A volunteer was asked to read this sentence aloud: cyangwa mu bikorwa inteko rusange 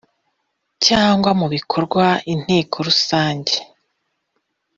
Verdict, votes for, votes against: accepted, 2, 1